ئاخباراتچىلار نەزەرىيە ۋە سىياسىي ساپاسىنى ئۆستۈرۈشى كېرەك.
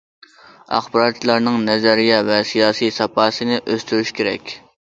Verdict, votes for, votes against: rejected, 1, 2